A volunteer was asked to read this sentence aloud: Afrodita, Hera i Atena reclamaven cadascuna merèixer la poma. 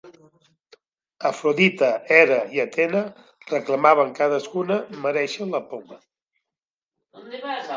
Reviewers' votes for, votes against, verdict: 2, 0, accepted